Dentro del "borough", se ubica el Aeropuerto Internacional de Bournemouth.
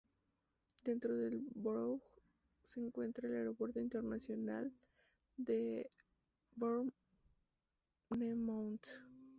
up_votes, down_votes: 0, 2